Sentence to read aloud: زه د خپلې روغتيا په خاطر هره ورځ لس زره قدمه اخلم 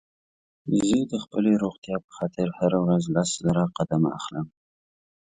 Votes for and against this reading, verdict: 2, 1, accepted